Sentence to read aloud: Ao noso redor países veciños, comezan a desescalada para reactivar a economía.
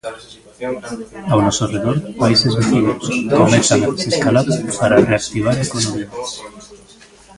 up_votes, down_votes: 0, 3